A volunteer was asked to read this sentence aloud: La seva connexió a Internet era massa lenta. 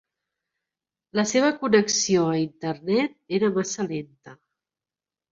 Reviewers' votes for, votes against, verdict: 5, 0, accepted